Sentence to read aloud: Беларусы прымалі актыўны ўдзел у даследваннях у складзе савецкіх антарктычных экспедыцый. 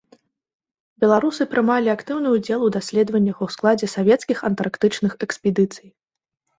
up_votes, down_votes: 2, 0